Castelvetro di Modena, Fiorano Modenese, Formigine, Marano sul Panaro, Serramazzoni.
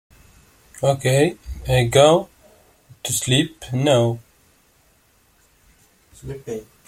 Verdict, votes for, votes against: rejected, 0, 2